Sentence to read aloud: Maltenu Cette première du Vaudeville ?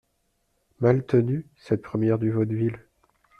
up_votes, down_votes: 2, 0